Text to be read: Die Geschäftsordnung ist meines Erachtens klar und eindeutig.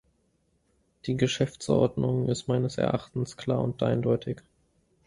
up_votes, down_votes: 2, 0